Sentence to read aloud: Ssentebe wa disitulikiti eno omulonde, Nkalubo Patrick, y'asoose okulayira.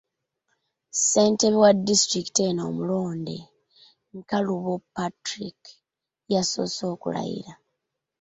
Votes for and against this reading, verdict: 0, 2, rejected